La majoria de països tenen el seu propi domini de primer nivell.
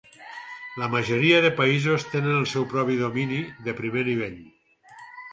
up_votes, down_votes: 2, 4